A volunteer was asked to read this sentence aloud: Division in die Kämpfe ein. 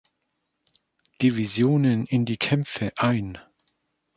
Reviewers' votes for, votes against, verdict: 1, 2, rejected